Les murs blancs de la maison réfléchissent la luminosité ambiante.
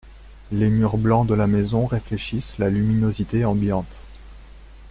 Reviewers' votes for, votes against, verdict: 2, 0, accepted